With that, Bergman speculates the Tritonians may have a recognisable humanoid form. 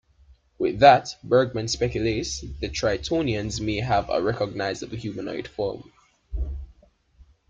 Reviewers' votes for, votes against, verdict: 2, 0, accepted